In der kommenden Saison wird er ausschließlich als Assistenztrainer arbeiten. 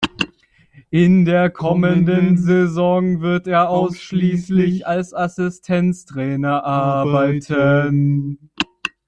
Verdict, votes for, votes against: rejected, 1, 2